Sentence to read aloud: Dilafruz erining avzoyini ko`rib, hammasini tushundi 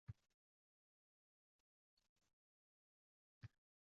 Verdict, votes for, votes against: rejected, 0, 2